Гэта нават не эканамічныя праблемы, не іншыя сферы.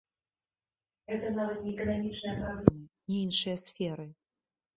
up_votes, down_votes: 0, 2